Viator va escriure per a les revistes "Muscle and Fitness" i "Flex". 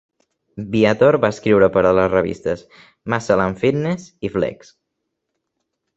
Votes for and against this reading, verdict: 2, 0, accepted